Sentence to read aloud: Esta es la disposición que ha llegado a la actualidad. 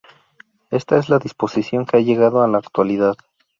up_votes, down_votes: 0, 2